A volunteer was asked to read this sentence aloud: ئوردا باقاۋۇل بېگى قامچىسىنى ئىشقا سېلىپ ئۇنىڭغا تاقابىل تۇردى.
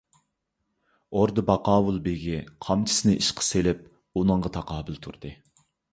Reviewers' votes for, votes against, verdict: 2, 0, accepted